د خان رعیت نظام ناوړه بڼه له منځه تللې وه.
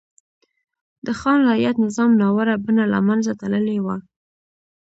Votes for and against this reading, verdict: 2, 0, accepted